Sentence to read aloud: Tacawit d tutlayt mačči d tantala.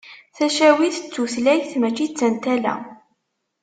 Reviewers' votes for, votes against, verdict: 2, 0, accepted